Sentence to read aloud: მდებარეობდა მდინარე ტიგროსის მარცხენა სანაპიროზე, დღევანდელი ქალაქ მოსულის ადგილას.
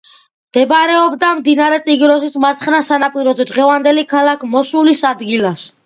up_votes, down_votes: 2, 0